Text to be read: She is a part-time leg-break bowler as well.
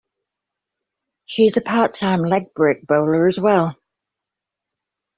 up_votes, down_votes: 2, 0